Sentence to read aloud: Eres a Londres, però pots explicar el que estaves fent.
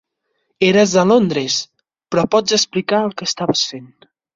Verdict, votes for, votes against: accepted, 4, 0